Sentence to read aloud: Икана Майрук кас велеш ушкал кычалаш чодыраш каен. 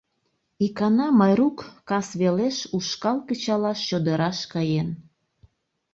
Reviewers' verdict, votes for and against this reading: accepted, 2, 0